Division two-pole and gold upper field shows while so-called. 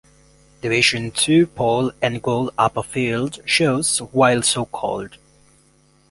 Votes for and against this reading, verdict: 2, 0, accepted